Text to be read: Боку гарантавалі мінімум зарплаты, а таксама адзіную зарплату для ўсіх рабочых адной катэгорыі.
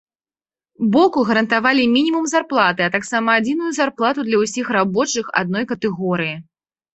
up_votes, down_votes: 2, 0